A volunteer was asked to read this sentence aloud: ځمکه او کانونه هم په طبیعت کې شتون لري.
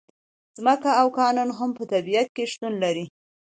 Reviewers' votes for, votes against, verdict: 2, 0, accepted